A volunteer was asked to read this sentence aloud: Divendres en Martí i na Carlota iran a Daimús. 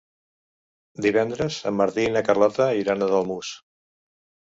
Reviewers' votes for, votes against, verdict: 1, 2, rejected